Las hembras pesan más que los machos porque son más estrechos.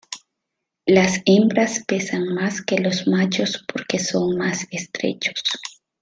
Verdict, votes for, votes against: accepted, 2, 0